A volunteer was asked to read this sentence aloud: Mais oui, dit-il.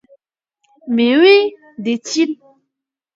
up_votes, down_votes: 2, 0